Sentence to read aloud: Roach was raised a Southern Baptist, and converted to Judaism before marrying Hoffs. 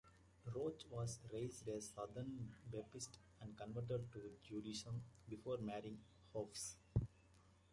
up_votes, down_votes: 0, 2